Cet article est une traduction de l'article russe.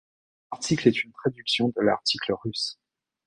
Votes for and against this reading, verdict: 0, 2, rejected